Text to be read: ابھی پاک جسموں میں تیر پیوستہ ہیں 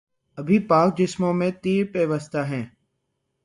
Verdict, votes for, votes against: accepted, 3, 0